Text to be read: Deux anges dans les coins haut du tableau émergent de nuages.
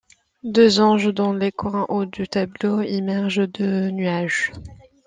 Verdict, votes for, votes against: accepted, 2, 0